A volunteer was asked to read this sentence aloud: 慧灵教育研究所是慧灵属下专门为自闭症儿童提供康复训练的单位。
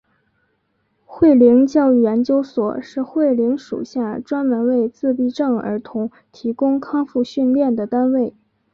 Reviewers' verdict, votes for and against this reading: accepted, 2, 0